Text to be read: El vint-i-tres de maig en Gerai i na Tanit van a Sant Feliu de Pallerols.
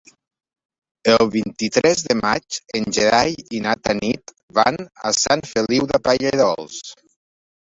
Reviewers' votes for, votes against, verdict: 2, 1, accepted